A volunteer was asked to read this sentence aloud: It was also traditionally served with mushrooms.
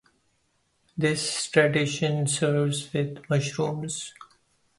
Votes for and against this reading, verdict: 0, 2, rejected